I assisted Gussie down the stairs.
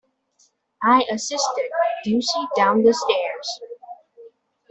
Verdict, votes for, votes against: accepted, 2, 0